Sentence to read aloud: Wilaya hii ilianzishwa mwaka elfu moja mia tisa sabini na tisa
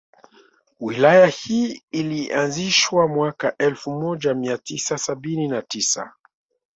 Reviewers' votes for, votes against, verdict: 2, 0, accepted